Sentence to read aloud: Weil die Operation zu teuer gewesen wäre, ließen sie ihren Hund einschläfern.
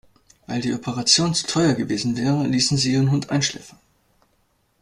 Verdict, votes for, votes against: rejected, 1, 2